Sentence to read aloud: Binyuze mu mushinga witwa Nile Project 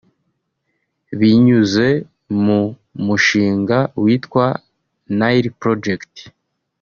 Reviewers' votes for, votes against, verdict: 2, 1, accepted